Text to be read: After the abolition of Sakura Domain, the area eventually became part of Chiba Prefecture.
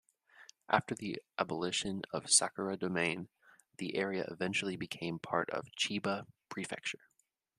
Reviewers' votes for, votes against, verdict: 2, 0, accepted